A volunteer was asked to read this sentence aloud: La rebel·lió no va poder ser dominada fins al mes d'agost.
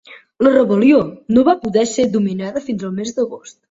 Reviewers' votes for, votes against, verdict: 2, 0, accepted